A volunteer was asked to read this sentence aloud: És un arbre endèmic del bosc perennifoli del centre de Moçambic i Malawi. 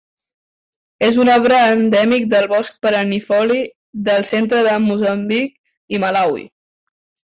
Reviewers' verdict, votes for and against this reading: accepted, 2, 0